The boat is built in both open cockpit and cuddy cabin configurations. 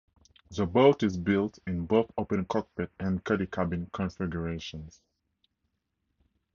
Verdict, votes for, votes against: accepted, 4, 0